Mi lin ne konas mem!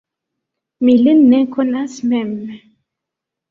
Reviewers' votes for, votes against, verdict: 2, 0, accepted